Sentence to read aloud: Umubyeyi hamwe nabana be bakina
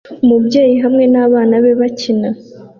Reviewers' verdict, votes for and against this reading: accepted, 2, 0